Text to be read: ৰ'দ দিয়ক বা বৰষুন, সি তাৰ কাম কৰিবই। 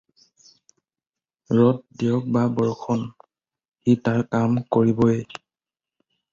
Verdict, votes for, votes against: accepted, 4, 0